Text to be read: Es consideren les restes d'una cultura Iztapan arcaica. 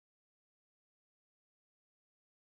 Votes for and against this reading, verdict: 0, 3, rejected